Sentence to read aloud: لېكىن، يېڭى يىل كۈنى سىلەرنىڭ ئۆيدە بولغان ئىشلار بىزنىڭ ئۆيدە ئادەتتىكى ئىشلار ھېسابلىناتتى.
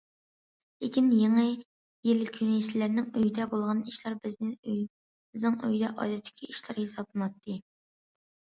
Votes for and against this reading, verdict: 0, 2, rejected